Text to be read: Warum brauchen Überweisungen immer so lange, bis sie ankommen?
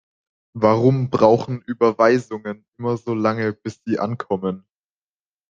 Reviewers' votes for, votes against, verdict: 2, 0, accepted